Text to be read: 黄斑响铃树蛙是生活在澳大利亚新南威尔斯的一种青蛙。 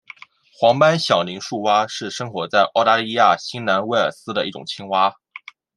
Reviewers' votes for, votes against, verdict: 2, 0, accepted